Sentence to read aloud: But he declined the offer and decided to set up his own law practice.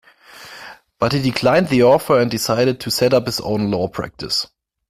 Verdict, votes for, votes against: accepted, 2, 1